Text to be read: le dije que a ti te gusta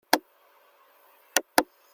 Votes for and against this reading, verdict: 0, 2, rejected